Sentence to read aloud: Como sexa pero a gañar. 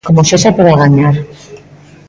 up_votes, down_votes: 2, 0